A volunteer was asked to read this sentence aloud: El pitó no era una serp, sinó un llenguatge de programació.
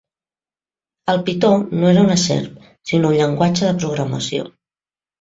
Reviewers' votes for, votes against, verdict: 2, 0, accepted